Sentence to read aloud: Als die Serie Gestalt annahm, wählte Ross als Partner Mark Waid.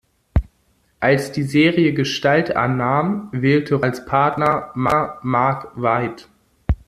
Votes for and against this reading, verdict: 0, 2, rejected